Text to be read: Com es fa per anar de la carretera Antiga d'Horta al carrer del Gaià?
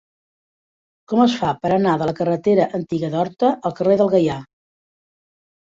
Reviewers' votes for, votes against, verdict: 3, 0, accepted